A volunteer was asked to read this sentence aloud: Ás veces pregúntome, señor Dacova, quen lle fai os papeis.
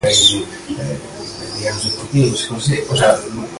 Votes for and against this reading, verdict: 0, 2, rejected